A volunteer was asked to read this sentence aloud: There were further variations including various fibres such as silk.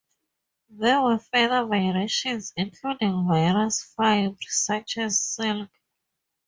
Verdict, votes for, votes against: rejected, 2, 2